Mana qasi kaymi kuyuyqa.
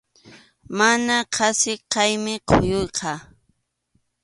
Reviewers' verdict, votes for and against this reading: accepted, 2, 0